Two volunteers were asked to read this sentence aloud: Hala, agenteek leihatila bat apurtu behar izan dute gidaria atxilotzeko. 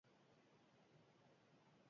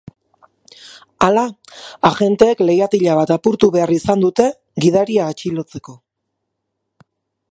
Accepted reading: second